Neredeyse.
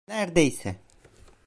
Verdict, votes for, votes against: rejected, 0, 2